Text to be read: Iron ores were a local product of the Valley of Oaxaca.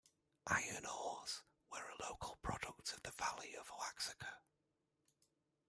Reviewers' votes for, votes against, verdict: 0, 2, rejected